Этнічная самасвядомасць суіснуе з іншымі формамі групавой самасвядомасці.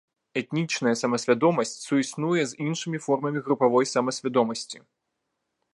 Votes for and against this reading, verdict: 0, 2, rejected